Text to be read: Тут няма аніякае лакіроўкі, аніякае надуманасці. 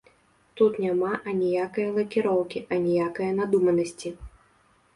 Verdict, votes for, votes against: accepted, 2, 0